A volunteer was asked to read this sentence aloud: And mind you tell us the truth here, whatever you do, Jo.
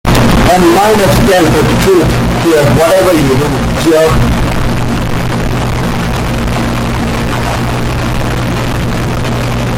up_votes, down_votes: 0, 2